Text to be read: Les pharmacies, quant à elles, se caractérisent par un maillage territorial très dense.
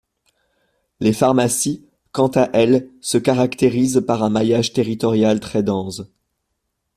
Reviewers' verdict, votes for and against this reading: rejected, 0, 2